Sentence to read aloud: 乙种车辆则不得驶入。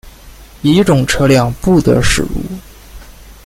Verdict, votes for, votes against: rejected, 0, 2